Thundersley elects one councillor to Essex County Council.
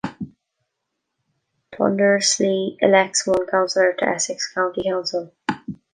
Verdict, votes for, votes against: rejected, 1, 2